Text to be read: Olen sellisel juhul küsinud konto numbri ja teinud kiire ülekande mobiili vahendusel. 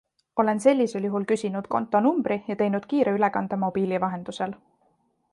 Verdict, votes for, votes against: accepted, 2, 0